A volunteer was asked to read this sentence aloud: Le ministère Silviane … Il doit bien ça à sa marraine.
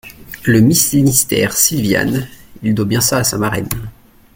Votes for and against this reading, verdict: 0, 2, rejected